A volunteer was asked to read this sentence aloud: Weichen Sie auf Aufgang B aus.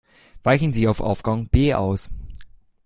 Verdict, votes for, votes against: accepted, 2, 0